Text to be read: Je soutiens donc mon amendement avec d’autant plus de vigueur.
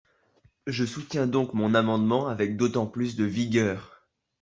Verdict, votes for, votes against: accepted, 2, 0